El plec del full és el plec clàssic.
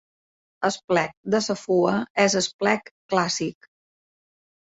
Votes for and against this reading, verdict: 0, 2, rejected